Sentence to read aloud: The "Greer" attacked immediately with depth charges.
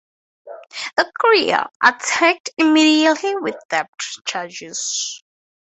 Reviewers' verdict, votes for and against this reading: rejected, 0, 2